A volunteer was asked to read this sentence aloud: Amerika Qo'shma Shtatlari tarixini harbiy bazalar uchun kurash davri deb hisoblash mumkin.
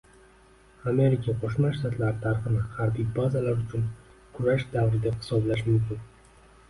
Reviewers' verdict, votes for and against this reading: rejected, 0, 2